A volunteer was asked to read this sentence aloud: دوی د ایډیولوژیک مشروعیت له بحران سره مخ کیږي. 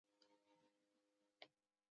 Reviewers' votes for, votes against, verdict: 0, 2, rejected